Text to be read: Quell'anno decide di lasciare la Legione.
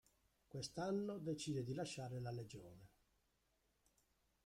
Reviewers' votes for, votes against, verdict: 0, 2, rejected